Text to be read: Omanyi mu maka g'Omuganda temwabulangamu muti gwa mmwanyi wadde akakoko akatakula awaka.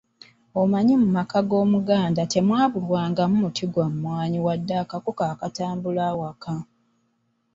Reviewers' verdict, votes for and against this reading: rejected, 1, 2